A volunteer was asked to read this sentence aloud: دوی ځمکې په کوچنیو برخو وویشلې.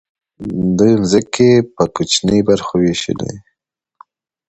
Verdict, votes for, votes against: accepted, 2, 0